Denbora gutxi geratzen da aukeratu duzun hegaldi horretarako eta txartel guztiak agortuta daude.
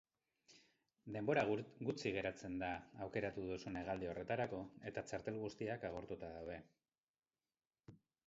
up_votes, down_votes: 0, 4